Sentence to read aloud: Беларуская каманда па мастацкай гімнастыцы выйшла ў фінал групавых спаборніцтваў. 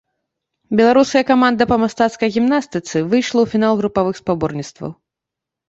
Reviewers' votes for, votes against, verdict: 1, 2, rejected